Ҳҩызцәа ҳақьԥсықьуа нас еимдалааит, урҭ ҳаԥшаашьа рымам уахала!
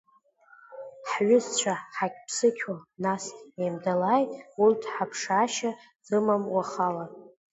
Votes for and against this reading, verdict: 3, 0, accepted